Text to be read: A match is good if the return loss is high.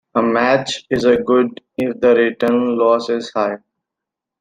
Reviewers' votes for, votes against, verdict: 0, 2, rejected